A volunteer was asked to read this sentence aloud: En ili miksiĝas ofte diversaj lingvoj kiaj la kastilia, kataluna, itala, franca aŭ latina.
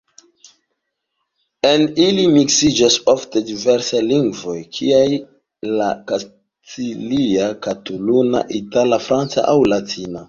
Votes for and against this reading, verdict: 2, 0, accepted